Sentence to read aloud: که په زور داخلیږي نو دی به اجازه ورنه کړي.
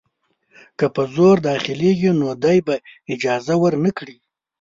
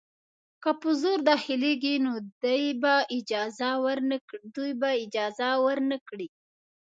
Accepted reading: first